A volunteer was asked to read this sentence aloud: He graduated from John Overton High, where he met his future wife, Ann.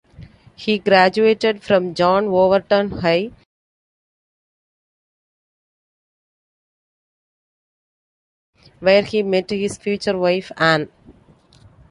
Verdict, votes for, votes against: rejected, 0, 2